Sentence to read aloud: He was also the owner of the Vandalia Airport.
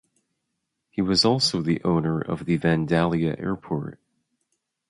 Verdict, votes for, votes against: rejected, 0, 2